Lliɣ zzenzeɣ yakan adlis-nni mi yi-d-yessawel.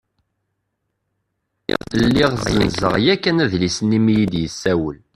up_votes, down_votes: 0, 2